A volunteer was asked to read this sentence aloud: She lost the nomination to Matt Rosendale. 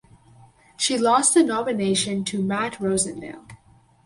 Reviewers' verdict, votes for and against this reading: accepted, 4, 0